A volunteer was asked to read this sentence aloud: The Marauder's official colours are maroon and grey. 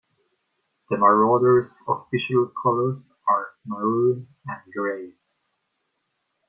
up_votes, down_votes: 2, 0